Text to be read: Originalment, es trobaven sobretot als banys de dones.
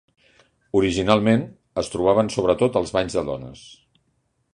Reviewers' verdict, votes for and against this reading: accepted, 3, 0